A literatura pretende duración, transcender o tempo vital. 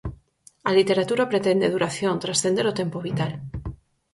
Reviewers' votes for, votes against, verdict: 4, 0, accepted